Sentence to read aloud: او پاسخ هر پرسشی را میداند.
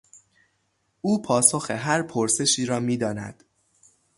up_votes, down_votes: 0, 3